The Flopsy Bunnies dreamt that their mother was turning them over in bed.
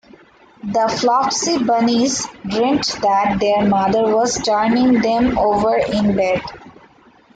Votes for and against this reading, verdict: 2, 0, accepted